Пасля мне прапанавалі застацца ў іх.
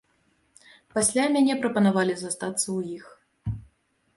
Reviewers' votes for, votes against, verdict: 0, 2, rejected